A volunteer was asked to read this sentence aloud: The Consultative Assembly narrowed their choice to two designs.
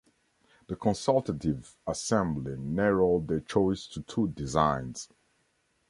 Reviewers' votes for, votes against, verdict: 2, 0, accepted